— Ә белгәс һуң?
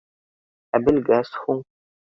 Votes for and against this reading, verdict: 2, 0, accepted